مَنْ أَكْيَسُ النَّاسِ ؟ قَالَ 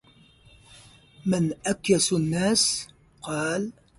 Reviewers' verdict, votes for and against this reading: rejected, 0, 2